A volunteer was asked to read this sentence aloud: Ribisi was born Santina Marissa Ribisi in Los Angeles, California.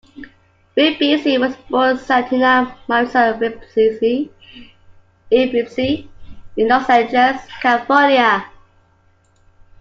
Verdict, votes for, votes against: rejected, 0, 2